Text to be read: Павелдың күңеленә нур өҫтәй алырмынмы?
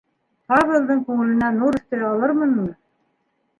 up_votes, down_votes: 1, 2